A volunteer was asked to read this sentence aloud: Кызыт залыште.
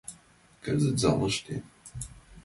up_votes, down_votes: 1, 2